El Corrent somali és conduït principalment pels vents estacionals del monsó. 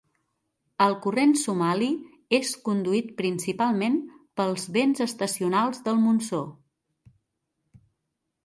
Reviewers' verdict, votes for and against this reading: accepted, 2, 0